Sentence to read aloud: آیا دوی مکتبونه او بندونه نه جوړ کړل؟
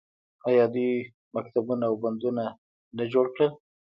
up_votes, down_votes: 0, 2